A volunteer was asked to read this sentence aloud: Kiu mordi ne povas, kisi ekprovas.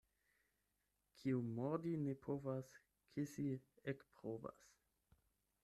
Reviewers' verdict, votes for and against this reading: rejected, 4, 8